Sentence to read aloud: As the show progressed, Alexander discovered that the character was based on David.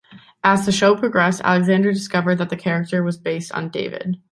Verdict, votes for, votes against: accepted, 2, 0